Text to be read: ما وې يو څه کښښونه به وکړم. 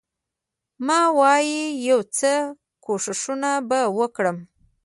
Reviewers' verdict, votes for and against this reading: rejected, 1, 2